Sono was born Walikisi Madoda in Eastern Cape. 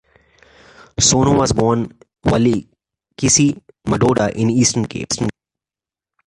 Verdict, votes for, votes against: rejected, 0, 2